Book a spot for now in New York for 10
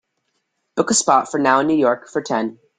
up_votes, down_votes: 0, 2